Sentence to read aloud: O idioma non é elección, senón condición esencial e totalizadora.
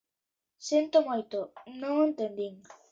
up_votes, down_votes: 0, 2